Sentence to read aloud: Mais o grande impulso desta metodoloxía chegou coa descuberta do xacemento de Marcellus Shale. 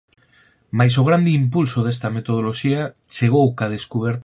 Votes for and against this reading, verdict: 0, 4, rejected